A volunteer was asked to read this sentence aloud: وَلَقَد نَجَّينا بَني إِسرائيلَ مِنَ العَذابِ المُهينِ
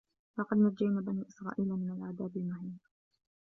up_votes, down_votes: 1, 2